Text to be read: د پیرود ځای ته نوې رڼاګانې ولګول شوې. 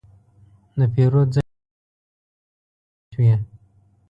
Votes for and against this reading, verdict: 0, 2, rejected